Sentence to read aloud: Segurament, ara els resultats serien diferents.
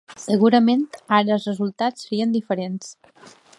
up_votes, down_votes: 2, 0